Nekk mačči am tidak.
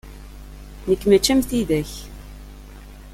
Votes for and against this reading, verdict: 2, 0, accepted